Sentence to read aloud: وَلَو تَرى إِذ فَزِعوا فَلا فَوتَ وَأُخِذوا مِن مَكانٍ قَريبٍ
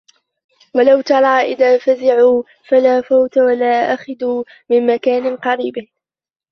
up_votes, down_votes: 0, 2